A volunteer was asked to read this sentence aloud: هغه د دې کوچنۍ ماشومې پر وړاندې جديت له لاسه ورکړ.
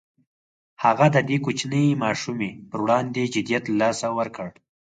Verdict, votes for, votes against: accepted, 4, 0